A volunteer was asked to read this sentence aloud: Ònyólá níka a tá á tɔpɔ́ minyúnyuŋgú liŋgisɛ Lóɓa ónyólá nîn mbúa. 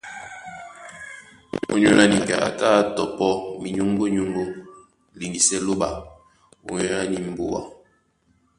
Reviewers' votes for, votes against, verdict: 1, 2, rejected